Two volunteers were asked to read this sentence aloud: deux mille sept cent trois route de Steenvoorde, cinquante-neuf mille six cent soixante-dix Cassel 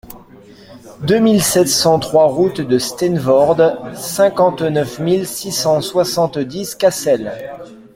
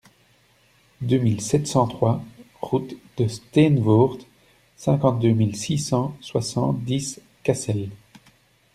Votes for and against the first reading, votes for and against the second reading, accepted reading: 2, 1, 0, 2, first